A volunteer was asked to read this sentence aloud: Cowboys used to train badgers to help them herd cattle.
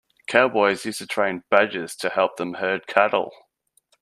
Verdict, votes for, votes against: accepted, 2, 0